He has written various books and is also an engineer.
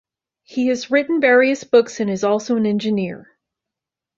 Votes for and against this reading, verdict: 2, 0, accepted